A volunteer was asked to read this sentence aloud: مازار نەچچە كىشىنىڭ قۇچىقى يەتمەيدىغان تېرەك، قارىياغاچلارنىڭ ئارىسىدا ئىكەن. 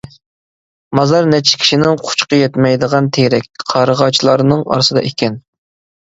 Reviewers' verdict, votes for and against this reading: rejected, 0, 2